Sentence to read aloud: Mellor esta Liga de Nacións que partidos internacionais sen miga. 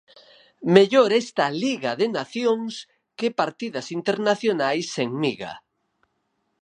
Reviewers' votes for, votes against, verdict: 2, 4, rejected